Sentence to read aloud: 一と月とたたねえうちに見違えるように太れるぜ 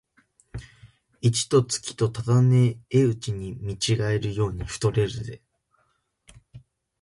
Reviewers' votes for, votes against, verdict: 1, 2, rejected